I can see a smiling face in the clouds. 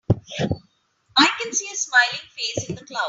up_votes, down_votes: 0, 2